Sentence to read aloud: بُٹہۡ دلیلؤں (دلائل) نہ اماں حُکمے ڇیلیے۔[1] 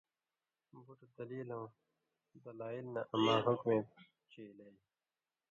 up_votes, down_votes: 0, 2